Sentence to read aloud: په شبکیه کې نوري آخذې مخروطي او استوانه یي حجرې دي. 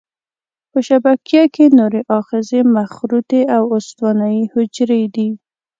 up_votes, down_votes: 2, 0